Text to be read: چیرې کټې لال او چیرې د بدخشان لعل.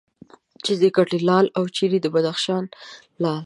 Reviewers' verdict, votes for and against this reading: accepted, 2, 0